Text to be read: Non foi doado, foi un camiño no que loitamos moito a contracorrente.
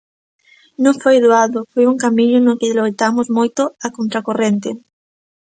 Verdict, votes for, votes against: accepted, 2, 0